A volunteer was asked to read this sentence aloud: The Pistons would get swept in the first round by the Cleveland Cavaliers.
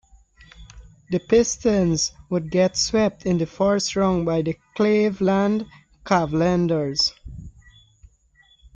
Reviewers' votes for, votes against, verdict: 0, 2, rejected